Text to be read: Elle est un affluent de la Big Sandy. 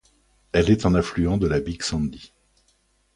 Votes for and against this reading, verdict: 2, 0, accepted